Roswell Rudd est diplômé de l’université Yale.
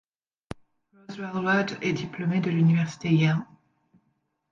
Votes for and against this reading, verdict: 1, 2, rejected